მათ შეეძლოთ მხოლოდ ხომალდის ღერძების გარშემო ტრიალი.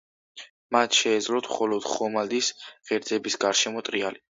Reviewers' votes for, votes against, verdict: 2, 0, accepted